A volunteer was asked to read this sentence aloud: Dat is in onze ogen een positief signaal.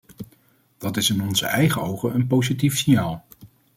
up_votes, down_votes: 1, 2